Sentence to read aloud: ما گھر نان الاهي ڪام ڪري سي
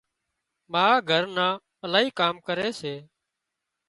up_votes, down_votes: 2, 0